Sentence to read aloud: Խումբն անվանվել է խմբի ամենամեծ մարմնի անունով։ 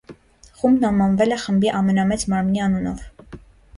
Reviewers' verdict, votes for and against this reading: accepted, 2, 0